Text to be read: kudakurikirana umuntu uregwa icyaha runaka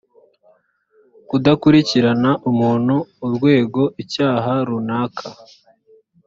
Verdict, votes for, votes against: rejected, 0, 2